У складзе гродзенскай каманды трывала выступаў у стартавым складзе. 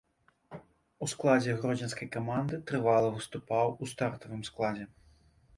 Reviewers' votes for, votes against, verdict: 2, 0, accepted